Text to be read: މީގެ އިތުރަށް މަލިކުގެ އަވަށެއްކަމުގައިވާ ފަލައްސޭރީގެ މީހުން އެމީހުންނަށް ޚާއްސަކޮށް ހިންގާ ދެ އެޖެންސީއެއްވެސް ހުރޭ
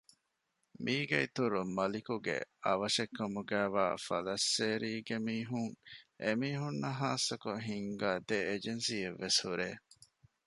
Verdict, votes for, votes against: rejected, 1, 2